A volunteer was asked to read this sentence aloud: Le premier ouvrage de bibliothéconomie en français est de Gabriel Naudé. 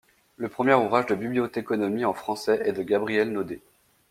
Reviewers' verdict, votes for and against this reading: accepted, 2, 0